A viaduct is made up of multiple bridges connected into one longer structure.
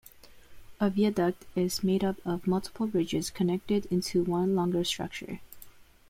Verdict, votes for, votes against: accepted, 2, 1